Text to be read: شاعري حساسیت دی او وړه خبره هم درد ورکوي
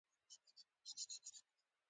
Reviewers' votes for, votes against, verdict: 1, 2, rejected